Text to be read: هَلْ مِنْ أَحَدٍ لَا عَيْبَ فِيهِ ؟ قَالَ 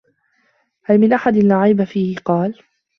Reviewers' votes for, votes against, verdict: 1, 2, rejected